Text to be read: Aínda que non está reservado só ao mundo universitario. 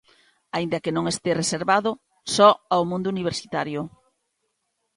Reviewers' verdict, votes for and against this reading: rejected, 0, 2